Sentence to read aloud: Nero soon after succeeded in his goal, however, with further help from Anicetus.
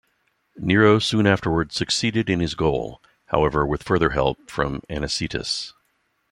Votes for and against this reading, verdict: 0, 2, rejected